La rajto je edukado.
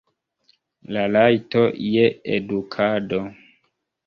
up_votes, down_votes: 1, 2